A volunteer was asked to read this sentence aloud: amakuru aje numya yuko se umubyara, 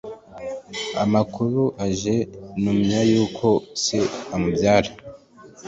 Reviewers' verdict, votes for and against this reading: accepted, 2, 0